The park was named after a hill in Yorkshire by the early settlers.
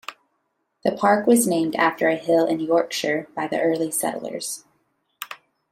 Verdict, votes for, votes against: accepted, 2, 0